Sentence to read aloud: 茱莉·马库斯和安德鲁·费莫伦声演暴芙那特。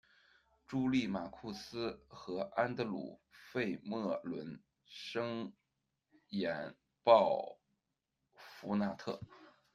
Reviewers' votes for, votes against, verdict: 0, 2, rejected